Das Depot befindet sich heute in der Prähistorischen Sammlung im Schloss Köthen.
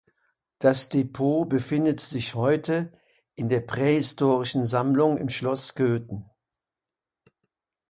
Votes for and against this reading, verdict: 2, 0, accepted